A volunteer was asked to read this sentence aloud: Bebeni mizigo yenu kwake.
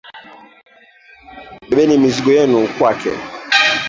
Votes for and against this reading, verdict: 1, 2, rejected